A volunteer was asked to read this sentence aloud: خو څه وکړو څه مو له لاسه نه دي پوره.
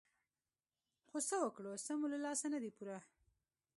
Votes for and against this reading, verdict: 2, 0, accepted